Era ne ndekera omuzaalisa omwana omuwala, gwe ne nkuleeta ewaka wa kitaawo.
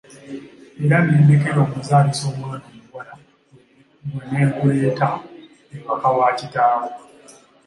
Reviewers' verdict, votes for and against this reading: rejected, 1, 2